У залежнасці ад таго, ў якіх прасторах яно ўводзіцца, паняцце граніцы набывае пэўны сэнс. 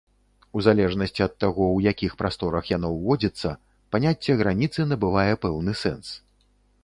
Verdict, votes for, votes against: accepted, 2, 0